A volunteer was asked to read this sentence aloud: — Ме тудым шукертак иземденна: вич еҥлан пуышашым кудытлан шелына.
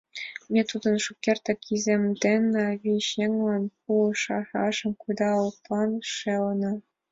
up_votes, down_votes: 1, 2